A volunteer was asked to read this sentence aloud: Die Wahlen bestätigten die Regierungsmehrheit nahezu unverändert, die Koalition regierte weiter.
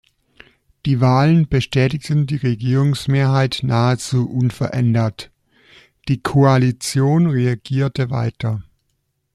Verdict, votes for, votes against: rejected, 1, 2